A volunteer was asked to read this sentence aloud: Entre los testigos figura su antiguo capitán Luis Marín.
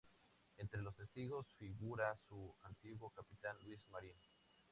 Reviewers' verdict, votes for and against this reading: accepted, 2, 0